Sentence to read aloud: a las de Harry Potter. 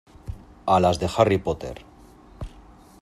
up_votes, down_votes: 2, 0